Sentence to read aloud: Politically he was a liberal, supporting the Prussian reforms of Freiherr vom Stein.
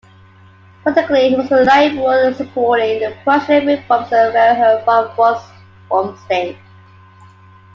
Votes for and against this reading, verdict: 2, 0, accepted